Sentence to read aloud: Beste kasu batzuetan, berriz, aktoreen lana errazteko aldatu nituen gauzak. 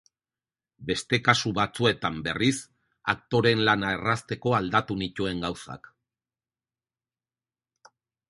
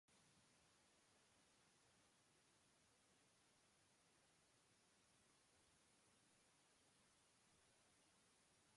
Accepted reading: first